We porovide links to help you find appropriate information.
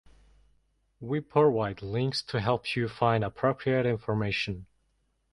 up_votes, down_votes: 2, 0